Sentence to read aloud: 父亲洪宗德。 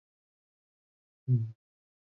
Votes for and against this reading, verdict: 0, 4, rejected